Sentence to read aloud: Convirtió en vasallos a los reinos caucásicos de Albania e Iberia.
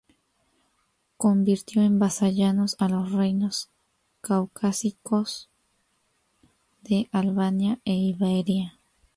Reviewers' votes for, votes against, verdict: 0, 2, rejected